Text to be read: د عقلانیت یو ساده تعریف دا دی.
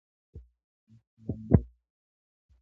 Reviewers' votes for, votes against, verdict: 0, 2, rejected